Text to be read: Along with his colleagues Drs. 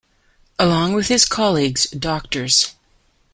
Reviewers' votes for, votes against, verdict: 2, 1, accepted